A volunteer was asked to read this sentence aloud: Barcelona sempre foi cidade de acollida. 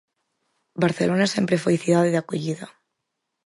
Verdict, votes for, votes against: accepted, 4, 0